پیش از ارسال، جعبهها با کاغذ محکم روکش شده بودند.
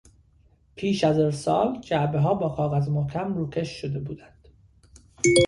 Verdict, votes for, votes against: rejected, 1, 2